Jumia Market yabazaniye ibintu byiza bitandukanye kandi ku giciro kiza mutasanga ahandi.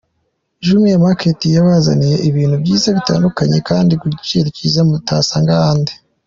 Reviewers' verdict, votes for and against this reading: accepted, 3, 1